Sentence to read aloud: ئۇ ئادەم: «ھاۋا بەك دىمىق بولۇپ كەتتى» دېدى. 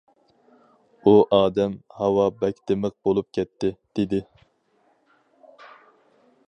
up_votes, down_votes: 4, 0